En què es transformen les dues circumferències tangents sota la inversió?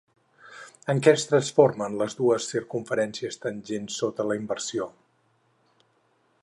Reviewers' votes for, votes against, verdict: 4, 0, accepted